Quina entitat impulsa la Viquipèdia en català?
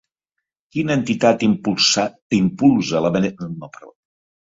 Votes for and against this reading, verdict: 0, 2, rejected